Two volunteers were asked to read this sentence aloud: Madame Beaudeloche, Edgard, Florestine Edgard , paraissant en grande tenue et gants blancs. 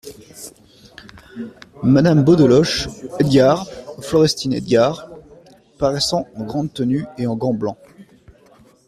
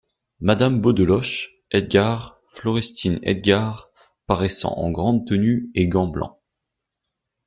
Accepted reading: second